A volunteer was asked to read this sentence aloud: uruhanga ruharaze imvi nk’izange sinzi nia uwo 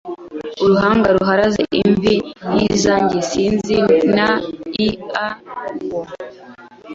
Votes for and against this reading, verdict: 0, 2, rejected